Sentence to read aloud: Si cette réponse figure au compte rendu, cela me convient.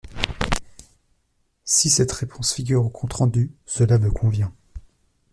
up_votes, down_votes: 1, 2